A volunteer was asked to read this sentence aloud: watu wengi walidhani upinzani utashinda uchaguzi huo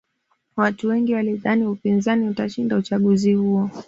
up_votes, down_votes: 2, 0